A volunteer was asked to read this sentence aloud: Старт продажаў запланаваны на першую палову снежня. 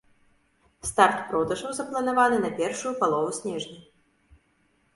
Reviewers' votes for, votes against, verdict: 3, 0, accepted